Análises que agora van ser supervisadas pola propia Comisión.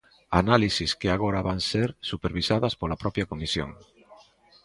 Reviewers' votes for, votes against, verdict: 0, 2, rejected